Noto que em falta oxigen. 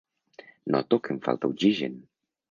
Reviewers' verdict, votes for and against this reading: accepted, 2, 0